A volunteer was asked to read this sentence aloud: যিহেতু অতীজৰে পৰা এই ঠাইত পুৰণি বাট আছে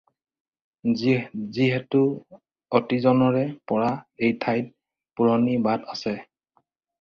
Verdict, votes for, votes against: rejected, 0, 2